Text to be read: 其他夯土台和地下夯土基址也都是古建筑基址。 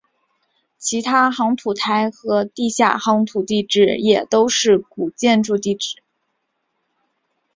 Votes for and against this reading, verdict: 2, 1, accepted